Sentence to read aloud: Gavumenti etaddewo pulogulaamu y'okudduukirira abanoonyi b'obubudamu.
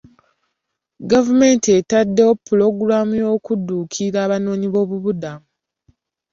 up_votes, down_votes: 2, 1